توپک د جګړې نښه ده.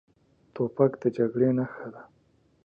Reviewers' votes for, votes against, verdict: 2, 0, accepted